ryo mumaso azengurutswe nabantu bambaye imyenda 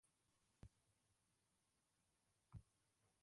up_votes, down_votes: 0, 2